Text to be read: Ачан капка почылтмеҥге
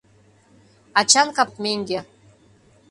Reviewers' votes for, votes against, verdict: 0, 2, rejected